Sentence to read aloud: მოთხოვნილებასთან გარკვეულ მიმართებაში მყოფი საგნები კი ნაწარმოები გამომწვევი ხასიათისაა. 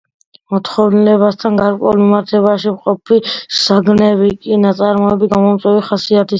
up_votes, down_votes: 2, 1